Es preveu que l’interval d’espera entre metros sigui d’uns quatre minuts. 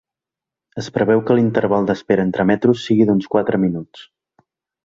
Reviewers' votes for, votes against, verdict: 2, 0, accepted